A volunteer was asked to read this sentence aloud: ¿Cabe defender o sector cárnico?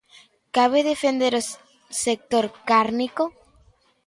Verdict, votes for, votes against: rejected, 1, 2